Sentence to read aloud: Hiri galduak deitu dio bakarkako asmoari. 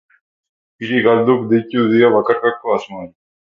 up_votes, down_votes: 2, 0